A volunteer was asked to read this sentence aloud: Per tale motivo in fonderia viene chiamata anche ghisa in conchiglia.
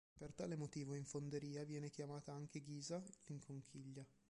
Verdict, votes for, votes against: rejected, 1, 2